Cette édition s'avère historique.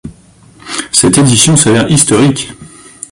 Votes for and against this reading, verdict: 0, 2, rejected